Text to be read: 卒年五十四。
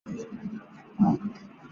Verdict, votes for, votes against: rejected, 0, 2